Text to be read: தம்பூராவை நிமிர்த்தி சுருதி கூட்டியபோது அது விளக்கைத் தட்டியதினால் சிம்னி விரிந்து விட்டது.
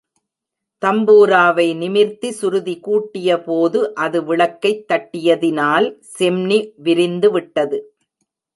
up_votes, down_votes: 1, 2